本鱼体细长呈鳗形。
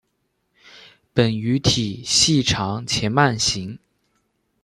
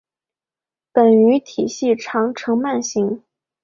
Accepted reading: second